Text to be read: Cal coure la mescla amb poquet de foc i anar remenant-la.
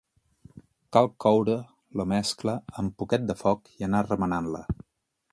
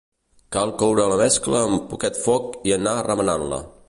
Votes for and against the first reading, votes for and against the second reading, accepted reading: 4, 0, 0, 2, first